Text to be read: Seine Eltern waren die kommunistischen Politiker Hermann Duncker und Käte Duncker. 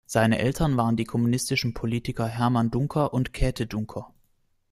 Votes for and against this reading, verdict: 2, 0, accepted